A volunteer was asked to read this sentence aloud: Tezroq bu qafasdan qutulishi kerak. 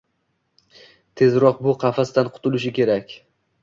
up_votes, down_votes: 2, 0